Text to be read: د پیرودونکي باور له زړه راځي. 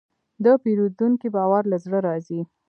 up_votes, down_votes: 2, 1